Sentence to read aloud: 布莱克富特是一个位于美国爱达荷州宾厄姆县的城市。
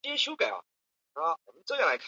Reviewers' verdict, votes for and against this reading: rejected, 0, 2